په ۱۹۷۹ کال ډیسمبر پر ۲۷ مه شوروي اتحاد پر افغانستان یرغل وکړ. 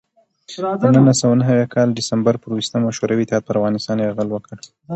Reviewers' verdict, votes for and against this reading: rejected, 0, 2